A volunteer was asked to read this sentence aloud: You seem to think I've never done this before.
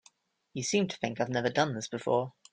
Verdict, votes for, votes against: accepted, 3, 0